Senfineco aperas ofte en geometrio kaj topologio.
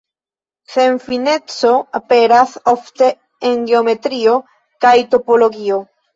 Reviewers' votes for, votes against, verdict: 0, 2, rejected